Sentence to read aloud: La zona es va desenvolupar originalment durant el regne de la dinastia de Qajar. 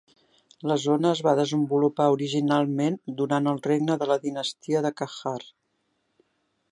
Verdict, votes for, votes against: accepted, 5, 1